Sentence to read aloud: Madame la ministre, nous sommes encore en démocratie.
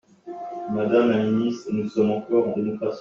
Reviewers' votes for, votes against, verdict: 2, 0, accepted